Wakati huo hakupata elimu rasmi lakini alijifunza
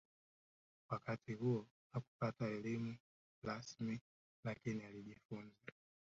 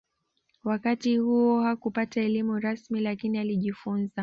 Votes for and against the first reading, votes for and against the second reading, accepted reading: 0, 2, 2, 0, second